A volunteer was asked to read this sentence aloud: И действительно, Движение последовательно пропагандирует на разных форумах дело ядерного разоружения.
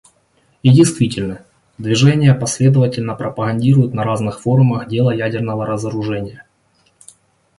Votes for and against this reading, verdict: 2, 0, accepted